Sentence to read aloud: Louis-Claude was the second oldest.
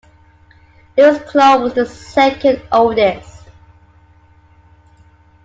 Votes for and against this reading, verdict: 2, 1, accepted